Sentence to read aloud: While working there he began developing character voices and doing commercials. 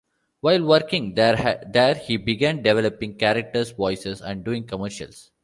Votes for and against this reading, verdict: 1, 2, rejected